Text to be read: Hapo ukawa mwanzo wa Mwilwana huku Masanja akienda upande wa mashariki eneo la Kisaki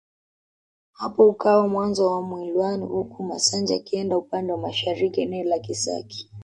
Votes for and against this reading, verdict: 1, 2, rejected